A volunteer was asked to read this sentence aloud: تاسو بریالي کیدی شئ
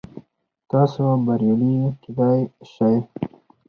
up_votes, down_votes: 2, 4